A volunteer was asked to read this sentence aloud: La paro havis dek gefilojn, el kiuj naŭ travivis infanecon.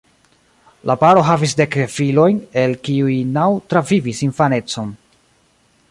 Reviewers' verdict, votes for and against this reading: rejected, 1, 2